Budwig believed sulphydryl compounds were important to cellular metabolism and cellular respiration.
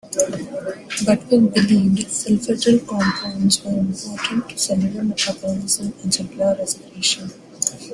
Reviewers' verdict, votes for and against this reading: rejected, 1, 2